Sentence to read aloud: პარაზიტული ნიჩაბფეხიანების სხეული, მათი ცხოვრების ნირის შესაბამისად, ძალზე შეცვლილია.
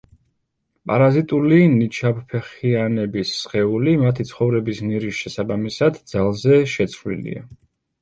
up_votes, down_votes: 2, 0